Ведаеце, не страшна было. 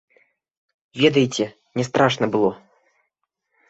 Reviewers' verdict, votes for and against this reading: rejected, 1, 3